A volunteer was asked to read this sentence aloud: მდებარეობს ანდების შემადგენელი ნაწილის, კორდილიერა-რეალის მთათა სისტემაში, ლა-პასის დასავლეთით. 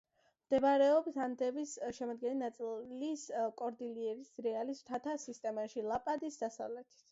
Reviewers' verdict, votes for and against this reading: rejected, 1, 2